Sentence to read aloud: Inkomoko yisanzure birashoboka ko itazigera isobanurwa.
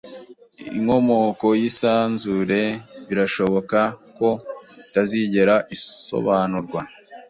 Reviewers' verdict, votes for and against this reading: accepted, 3, 0